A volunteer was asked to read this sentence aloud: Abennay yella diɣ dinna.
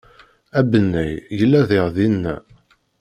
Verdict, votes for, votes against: accepted, 2, 0